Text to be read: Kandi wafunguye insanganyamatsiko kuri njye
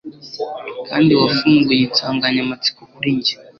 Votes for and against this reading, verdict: 2, 0, accepted